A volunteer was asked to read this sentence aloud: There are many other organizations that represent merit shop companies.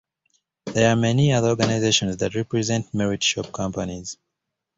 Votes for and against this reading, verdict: 2, 0, accepted